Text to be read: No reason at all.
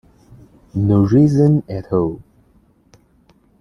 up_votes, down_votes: 2, 0